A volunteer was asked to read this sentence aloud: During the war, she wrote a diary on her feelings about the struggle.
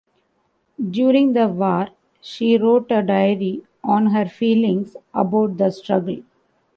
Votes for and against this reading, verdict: 0, 2, rejected